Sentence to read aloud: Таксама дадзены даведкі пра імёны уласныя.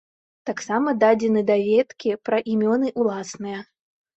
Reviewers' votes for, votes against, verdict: 0, 2, rejected